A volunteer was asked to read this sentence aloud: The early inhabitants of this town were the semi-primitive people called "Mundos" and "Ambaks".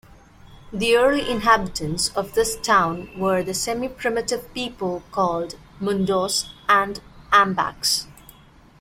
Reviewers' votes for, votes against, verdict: 2, 0, accepted